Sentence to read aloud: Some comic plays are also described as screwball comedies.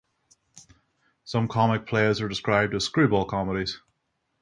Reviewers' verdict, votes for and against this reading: accepted, 6, 0